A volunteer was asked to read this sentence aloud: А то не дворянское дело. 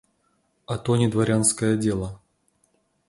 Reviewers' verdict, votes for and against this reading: accepted, 2, 0